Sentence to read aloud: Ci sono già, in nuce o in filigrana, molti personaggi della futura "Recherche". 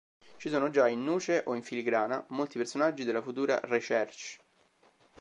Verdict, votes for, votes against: accepted, 4, 1